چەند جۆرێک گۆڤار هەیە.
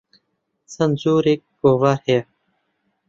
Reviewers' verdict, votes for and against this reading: accepted, 3, 0